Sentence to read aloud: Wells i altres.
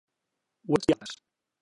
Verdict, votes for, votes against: rejected, 1, 2